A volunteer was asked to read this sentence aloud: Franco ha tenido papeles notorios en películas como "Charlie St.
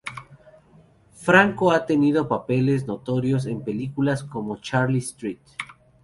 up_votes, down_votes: 0, 2